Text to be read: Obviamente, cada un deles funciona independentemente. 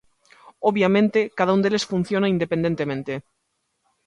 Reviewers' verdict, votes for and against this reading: accepted, 2, 0